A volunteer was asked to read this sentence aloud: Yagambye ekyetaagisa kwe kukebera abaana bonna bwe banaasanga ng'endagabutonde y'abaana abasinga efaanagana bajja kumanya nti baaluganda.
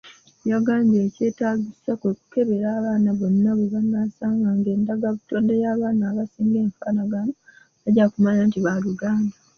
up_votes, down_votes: 2, 0